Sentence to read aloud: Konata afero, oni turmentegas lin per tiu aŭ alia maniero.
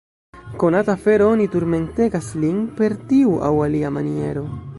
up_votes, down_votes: 0, 2